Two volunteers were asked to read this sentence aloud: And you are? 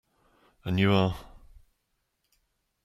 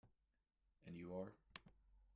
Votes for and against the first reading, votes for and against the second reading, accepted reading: 2, 0, 0, 2, first